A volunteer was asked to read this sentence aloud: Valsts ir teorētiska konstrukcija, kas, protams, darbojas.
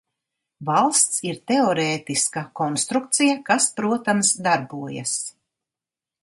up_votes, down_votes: 2, 0